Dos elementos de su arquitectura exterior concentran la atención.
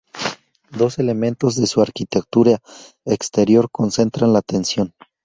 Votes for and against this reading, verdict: 2, 0, accepted